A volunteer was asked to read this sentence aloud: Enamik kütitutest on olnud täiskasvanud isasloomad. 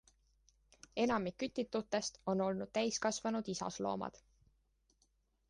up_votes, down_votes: 2, 0